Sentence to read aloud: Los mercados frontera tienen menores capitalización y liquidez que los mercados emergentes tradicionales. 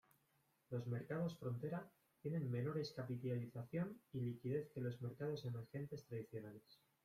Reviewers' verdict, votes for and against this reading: rejected, 1, 2